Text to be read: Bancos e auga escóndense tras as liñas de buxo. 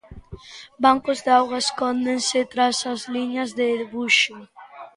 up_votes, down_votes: 0, 2